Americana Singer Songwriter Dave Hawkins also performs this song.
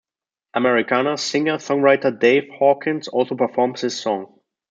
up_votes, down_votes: 2, 1